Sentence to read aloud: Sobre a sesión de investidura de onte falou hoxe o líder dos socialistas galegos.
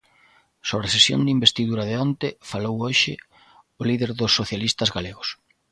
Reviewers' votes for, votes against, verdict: 2, 1, accepted